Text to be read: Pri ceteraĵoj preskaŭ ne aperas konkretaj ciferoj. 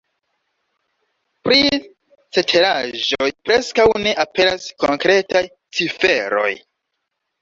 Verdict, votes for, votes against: rejected, 0, 2